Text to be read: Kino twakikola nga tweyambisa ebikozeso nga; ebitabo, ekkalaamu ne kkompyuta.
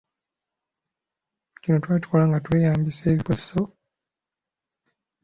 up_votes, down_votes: 0, 2